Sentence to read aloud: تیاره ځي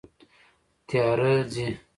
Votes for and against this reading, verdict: 2, 0, accepted